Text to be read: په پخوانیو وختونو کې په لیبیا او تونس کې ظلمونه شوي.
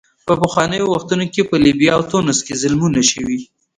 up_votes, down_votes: 1, 2